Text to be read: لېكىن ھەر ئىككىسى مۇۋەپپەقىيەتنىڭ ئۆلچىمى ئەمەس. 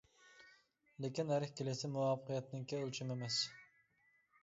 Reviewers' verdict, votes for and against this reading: rejected, 0, 2